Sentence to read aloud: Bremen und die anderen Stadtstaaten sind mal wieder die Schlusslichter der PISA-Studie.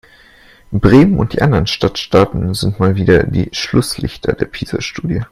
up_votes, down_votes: 2, 0